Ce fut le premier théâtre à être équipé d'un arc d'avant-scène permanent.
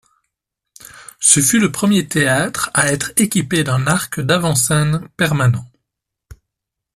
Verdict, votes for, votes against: accepted, 2, 0